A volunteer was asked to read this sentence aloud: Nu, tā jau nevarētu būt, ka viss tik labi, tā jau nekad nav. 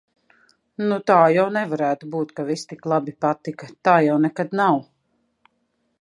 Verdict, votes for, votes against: rejected, 1, 2